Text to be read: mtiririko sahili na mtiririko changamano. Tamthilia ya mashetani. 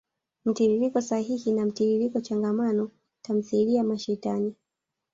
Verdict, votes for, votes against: accepted, 2, 1